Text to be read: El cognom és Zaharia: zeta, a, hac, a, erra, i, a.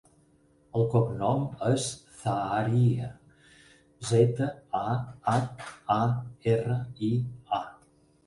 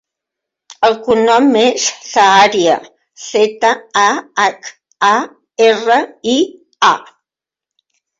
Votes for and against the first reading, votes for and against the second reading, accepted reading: 8, 0, 1, 2, first